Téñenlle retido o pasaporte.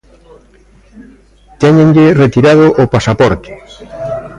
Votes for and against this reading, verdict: 1, 2, rejected